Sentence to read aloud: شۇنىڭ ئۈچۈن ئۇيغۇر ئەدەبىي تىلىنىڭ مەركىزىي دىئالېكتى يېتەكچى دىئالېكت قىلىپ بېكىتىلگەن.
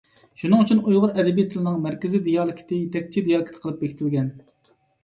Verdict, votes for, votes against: accepted, 2, 0